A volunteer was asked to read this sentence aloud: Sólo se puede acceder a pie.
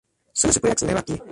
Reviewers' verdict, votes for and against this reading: rejected, 0, 2